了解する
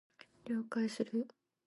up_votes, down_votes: 1, 2